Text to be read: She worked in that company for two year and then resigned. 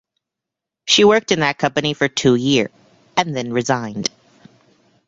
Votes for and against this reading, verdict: 2, 1, accepted